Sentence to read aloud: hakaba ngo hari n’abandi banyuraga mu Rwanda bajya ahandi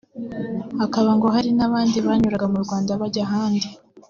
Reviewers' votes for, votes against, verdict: 3, 0, accepted